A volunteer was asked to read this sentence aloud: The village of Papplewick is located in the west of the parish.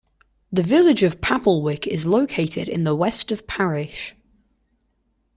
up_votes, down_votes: 1, 2